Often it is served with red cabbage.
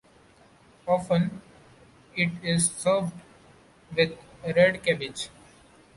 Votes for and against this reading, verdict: 2, 0, accepted